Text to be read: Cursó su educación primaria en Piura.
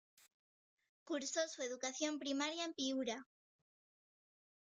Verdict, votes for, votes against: rejected, 1, 2